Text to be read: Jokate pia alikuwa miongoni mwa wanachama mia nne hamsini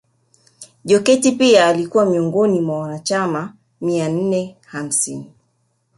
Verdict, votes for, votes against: accepted, 3, 1